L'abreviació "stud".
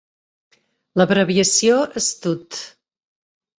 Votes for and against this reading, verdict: 2, 0, accepted